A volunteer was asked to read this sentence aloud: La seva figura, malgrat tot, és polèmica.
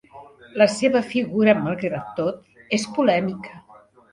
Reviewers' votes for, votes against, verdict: 3, 0, accepted